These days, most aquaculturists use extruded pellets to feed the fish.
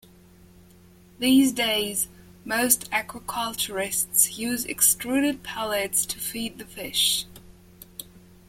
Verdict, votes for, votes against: accepted, 2, 0